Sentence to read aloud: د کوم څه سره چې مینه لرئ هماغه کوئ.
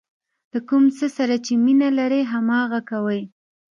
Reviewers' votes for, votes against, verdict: 1, 2, rejected